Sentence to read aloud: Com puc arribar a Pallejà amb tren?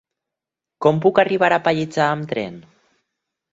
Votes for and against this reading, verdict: 4, 0, accepted